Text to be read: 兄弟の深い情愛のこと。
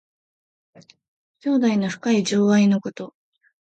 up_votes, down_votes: 2, 0